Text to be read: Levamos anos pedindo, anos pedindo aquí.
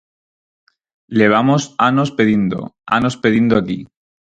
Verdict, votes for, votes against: accepted, 4, 0